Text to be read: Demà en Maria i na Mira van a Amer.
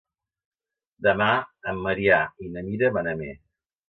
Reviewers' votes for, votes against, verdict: 1, 3, rejected